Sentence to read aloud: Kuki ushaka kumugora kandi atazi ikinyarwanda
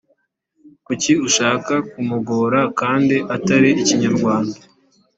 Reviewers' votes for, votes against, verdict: 1, 2, rejected